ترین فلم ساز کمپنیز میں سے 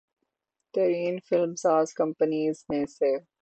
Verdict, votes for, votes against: accepted, 18, 0